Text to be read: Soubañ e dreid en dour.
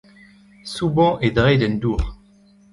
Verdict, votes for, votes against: rejected, 0, 2